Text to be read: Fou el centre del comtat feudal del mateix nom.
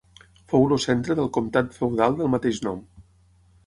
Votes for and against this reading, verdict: 0, 6, rejected